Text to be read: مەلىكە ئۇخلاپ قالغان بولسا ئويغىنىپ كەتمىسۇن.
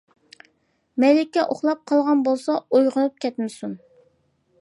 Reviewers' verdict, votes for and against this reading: accepted, 2, 0